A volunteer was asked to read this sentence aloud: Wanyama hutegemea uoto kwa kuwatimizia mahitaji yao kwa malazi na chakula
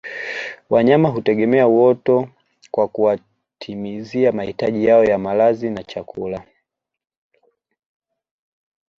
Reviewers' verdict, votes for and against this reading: rejected, 1, 2